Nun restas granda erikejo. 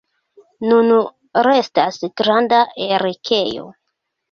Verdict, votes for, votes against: accepted, 2, 1